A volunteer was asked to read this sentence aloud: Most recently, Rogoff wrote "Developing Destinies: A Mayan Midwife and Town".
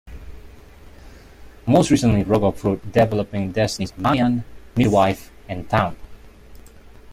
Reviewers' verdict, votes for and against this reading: rejected, 0, 2